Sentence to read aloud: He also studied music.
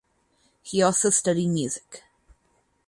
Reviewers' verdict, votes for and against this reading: accepted, 4, 2